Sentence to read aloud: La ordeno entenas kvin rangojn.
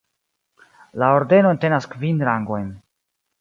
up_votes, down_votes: 2, 1